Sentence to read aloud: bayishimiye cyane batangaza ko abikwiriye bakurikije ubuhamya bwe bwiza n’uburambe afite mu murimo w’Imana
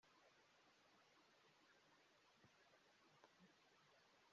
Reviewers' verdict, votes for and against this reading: rejected, 0, 3